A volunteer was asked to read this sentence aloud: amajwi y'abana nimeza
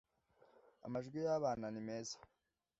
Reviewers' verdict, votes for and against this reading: accepted, 2, 0